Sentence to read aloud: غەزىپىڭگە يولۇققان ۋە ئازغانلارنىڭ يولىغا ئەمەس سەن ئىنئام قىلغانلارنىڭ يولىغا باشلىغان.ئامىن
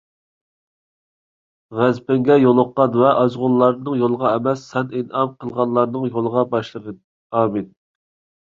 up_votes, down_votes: 1, 2